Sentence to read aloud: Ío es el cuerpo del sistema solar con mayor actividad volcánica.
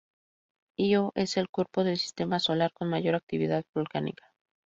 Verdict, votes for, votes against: accepted, 2, 0